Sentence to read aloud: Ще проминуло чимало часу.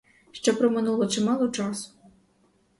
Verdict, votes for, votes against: rejected, 2, 2